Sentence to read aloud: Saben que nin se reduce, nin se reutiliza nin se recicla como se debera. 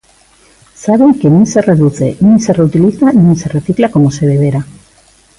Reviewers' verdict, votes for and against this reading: accepted, 2, 0